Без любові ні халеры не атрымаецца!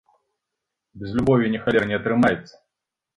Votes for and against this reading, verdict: 1, 2, rejected